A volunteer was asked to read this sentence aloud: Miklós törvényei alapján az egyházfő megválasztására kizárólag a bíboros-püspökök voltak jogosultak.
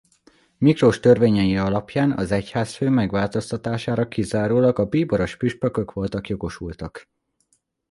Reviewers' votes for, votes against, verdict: 0, 2, rejected